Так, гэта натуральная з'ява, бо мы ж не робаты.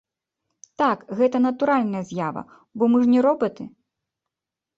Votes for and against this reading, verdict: 2, 0, accepted